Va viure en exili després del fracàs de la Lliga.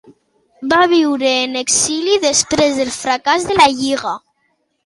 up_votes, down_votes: 2, 0